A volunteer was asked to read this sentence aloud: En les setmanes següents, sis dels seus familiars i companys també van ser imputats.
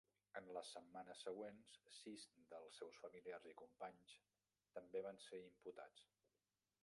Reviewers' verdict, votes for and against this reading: rejected, 1, 2